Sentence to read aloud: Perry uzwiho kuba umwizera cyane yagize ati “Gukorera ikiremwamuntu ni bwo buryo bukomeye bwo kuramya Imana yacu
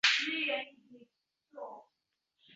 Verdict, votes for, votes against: rejected, 0, 2